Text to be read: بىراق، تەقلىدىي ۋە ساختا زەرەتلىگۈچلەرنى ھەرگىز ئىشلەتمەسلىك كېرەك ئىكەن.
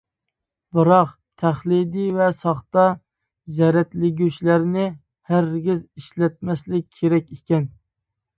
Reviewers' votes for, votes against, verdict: 0, 2, rejected